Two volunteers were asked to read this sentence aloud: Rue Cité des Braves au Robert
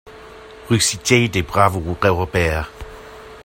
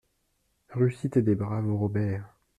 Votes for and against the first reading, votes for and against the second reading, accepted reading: 1, 2, 2, 0, second